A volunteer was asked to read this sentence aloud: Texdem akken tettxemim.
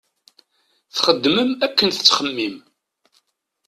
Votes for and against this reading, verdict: 1, 2, rejected